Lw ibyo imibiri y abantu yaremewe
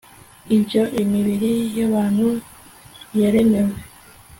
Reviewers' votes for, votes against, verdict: 1, 2, rejected